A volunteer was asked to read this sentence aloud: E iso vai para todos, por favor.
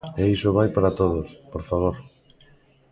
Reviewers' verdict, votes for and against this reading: accepted, 2, 0